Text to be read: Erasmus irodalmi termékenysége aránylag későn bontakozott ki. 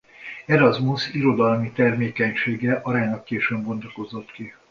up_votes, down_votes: 2, 0